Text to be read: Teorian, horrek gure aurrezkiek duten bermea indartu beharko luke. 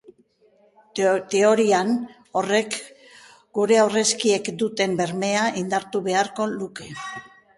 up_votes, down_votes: 1, 2